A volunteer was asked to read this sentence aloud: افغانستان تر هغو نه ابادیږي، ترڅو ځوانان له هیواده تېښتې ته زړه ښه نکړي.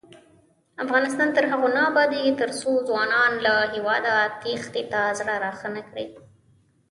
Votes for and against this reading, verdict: 0, 3, rejected